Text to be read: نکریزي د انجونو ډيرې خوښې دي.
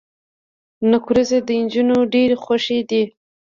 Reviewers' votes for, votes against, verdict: 2, 0, accepted